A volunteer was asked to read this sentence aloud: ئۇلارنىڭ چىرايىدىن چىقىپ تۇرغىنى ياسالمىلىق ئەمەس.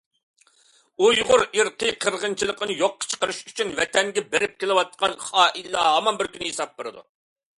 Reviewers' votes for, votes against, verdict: 0, 2, rejected